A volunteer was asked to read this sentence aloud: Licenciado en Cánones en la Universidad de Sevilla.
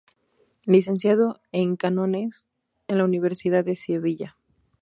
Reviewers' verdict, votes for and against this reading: rejected, 0, 2